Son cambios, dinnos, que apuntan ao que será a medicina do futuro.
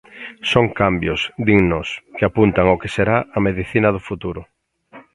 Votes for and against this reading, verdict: 2, 0, accepted